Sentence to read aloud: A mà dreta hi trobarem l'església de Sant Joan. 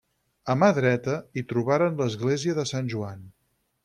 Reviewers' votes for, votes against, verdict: 2, 4, rejected